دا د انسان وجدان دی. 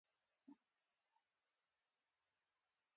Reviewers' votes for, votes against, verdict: 0, 2, rejected